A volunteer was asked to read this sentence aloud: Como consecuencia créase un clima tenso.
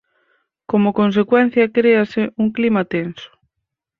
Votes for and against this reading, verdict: 4, 0, accepted